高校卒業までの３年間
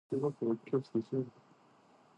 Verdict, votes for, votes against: rejected, 0, 2